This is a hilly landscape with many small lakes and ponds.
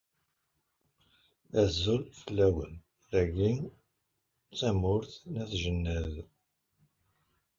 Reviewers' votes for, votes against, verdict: 0, 2, rejected